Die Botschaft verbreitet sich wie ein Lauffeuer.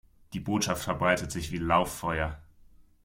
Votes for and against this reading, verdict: 0, 2, rejected